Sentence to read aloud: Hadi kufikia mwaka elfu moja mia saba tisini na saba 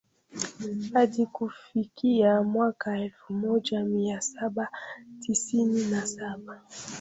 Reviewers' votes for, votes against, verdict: 0, 2, rejected